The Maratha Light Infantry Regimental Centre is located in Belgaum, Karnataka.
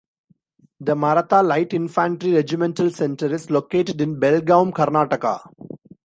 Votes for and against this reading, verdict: 1, 2, rejected